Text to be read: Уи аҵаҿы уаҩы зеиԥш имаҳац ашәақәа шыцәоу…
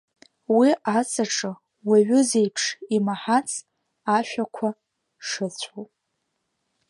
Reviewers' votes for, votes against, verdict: 1, 2, rejected